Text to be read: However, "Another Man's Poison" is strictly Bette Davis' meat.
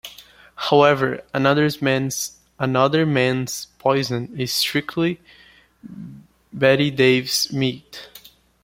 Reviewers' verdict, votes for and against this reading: rejected, 0, 2